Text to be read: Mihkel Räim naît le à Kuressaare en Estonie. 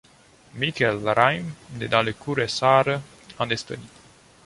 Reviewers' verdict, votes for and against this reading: rejected, 1, 2